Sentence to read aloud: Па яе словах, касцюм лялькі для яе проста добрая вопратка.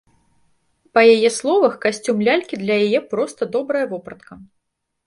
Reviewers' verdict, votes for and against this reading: accepted, 2, 0